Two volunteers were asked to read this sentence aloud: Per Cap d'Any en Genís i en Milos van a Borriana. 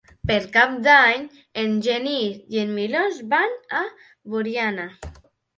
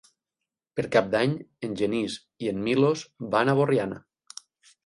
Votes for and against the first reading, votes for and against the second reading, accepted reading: 1, 2, 16, 0, second